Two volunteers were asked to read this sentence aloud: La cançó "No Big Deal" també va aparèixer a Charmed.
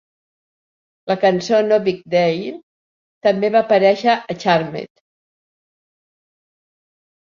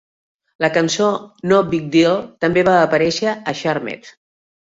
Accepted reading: second